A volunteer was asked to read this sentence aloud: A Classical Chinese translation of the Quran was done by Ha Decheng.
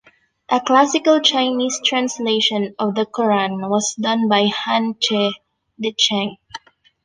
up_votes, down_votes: 1, 2